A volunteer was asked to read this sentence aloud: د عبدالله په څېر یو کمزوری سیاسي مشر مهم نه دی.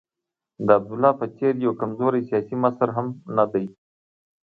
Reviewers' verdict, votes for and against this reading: rejected, 0, 2